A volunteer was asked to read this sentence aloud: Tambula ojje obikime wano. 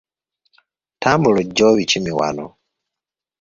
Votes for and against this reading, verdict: 2, 0, accepted